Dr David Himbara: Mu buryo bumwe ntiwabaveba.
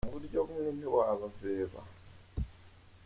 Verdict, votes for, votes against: rejected, 0, 2